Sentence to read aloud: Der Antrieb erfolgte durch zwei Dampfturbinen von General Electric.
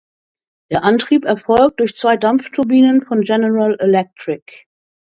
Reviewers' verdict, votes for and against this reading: rejected, 0, 2